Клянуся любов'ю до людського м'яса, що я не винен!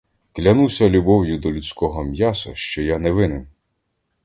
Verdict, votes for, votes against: accepted, 2, 0